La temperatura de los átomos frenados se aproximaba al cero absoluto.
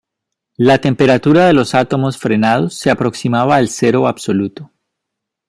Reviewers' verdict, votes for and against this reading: accepted, 2, 0